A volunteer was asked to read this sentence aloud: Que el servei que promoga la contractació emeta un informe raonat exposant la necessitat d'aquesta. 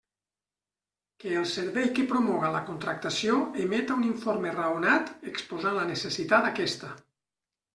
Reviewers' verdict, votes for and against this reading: rejected, 0, 2